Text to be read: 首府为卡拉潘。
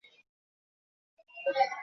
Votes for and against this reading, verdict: 0, 2, rejected